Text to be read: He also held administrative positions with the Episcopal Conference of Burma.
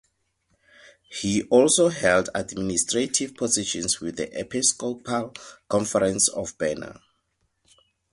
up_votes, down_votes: 0, 4